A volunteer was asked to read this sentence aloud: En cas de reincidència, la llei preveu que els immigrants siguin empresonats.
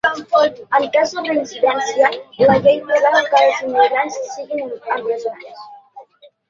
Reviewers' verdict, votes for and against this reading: rejected, 0, 2